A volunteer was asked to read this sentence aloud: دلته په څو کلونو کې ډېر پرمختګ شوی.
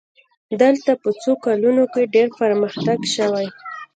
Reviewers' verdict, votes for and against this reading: rejected, 0, 3